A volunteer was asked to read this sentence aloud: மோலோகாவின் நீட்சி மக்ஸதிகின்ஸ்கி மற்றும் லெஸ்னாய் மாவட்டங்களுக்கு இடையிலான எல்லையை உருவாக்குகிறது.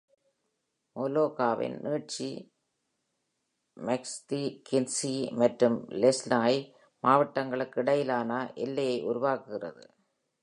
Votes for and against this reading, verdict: 1, 2, rejected